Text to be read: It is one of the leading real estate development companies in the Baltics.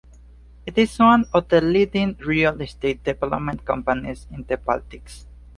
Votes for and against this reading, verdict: 2, 0, accepted